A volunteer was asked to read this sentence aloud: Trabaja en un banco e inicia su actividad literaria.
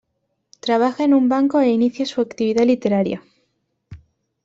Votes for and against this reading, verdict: 2, 0, accepted